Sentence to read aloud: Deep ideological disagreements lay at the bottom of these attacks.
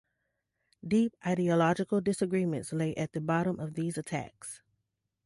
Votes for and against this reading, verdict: 2, 0, accepted